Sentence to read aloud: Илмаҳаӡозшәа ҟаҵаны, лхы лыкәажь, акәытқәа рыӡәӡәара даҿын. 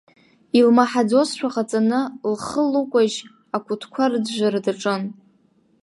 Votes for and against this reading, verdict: 2, 0, accepted